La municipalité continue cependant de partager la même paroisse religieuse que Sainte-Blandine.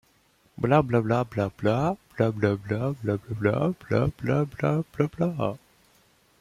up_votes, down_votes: 0, 2